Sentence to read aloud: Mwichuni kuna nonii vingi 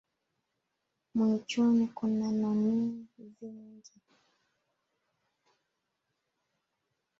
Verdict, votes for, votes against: rejected, 1, 2